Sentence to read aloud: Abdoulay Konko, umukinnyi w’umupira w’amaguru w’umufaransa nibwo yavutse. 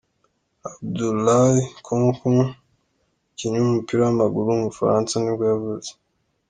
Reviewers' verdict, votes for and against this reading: accepted, 2, 0